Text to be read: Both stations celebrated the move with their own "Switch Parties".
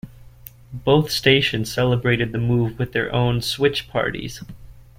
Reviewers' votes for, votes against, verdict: 2, 0, accepted